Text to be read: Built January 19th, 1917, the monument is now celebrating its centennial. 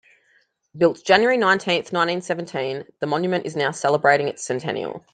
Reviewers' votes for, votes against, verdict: 0, 2, rejected